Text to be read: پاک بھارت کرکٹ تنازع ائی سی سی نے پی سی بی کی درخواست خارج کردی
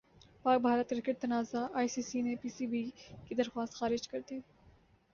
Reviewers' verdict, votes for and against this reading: accepted, 2, 0